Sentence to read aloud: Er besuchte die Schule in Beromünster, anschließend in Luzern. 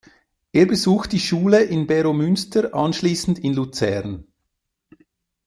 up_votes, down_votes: 0, 2